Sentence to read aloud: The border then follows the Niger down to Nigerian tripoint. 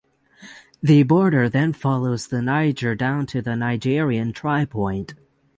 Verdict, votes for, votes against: rejected, 0, 6